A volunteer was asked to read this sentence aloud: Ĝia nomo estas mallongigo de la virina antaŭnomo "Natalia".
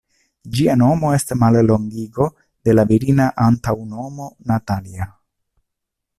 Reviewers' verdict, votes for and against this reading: rejected, 0, 2